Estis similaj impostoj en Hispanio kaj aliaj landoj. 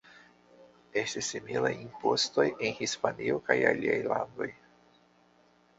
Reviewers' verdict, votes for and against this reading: accepted, 2, 1